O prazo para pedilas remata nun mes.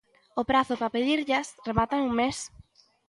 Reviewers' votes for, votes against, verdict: 0, 2, rejected